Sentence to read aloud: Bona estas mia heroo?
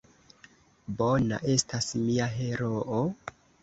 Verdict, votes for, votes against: accepted, 2, 1